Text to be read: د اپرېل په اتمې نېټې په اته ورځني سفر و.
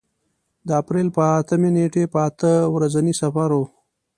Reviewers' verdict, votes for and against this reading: accepted, 2, 0